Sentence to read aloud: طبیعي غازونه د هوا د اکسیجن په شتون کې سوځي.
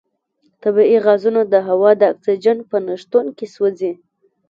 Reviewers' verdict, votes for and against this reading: rejected, 0, 2